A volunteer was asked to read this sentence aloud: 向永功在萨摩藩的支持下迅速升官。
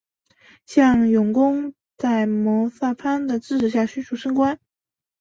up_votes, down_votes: 1, 3